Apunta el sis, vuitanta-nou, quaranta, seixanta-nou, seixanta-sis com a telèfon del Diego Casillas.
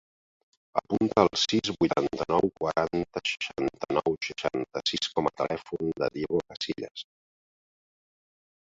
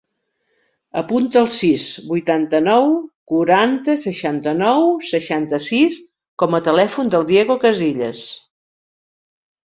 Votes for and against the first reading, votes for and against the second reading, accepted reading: 0, 2, 4, 0, second